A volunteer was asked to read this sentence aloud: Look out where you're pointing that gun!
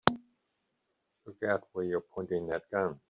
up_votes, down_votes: 3, 0